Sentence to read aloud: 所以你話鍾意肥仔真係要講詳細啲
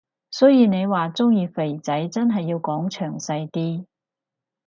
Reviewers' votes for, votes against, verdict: 6, 0, accepted